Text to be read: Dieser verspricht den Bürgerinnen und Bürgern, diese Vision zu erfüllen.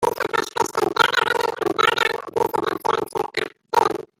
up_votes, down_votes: 0, 2